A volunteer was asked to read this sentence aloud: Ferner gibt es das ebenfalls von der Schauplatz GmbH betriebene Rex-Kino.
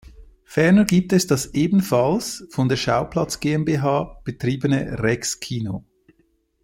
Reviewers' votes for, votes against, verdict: 1, 2, rejected